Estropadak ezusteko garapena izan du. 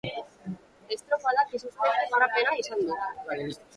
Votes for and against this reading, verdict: 0, 2, rejected